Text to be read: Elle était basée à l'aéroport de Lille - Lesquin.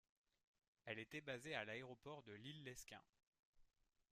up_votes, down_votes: 1, 2